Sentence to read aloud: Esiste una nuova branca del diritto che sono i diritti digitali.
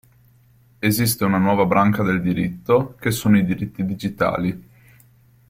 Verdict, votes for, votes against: accepted, 2, 0